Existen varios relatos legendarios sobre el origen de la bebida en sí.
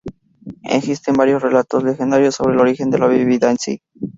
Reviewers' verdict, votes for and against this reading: accepted, 2, 0